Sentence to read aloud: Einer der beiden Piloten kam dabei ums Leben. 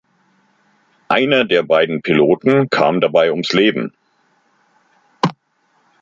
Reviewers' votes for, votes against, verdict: 2, 0, accepted